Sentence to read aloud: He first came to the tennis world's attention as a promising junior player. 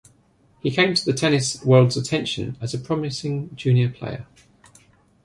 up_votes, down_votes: 1, 2